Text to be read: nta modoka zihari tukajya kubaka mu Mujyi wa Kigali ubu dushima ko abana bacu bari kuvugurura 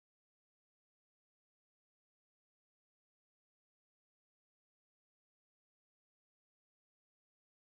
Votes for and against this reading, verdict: 0, 2, rejected